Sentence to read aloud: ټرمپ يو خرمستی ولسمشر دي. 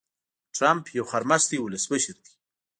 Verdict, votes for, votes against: accepted, 2, 0